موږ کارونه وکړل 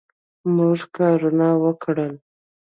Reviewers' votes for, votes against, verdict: 1, 2, rejected